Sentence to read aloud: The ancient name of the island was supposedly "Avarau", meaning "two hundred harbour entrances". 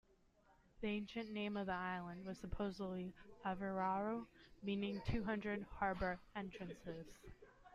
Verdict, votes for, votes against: accepted, 2, 1